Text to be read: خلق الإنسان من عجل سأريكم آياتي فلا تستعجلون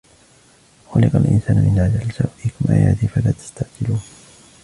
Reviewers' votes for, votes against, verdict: 2, 1, accepted